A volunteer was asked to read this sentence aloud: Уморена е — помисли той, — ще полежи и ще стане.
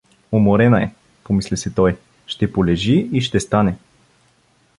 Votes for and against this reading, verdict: 1, 2, rejected